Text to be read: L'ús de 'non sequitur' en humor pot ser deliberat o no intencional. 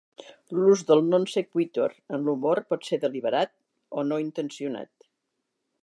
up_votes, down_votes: 2, 1